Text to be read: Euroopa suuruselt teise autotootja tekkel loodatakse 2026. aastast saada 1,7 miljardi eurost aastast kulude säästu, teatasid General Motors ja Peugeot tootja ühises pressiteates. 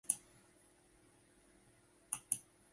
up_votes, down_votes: 0, 2